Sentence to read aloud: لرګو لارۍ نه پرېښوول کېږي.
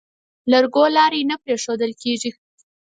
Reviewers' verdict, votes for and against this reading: accepted, 4, 0